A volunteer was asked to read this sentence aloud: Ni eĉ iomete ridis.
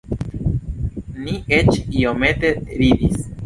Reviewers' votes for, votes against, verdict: 2, 0, accepted